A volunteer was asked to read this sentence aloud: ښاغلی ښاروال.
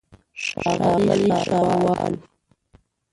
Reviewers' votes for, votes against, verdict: 0, 2, rejected